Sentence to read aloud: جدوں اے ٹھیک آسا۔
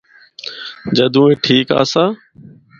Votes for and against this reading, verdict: 4, 0, accepted